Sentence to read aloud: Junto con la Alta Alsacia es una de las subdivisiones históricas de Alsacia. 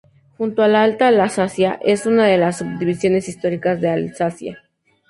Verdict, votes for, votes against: rejected, 0, 2